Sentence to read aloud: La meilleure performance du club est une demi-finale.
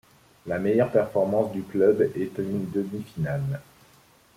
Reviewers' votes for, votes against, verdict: 2, 0, accepted